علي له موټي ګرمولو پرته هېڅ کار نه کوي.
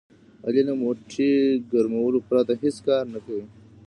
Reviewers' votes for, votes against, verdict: 2, 0, accepted